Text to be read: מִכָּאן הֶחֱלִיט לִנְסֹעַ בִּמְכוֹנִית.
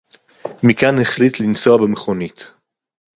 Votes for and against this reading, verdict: 4, 0, accepted